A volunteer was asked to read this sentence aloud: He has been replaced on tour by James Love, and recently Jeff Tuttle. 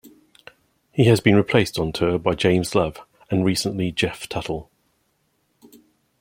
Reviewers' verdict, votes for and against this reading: rejected, 0, 2